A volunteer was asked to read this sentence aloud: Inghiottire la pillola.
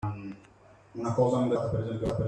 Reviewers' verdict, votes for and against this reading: rejected, 0, 2